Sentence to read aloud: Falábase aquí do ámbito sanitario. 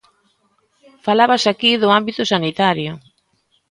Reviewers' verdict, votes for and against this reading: accepted, 2, 0